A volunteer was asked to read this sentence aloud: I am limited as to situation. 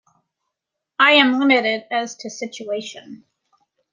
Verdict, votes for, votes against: accepted, 2, 0